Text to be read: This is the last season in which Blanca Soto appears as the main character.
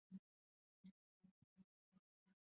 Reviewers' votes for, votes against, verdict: 0, 2, rejected